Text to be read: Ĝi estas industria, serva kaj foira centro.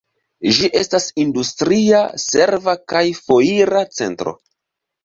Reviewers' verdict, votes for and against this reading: accepted, 3, 0